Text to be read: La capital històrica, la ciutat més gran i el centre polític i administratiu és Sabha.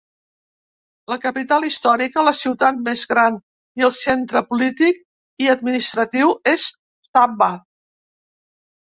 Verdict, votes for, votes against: rejected, 1, 2